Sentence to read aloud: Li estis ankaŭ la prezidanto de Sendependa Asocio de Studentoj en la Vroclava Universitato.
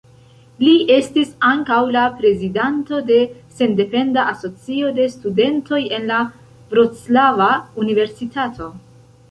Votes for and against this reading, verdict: 2, 0, accepted